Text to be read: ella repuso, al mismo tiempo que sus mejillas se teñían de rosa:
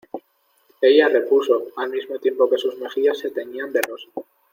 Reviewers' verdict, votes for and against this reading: accepted, 2, 0